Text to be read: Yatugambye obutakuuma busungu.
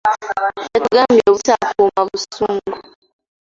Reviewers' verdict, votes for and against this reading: rejected, 0, 2